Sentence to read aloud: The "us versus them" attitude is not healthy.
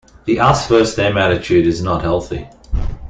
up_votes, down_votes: 2, 1